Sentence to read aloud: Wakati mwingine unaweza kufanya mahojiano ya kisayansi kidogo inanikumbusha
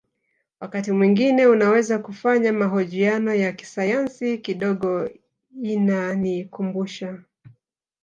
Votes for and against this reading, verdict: 2, 0, accepted